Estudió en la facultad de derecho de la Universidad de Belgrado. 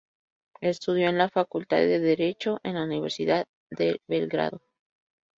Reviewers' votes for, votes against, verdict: 2, 2, rejected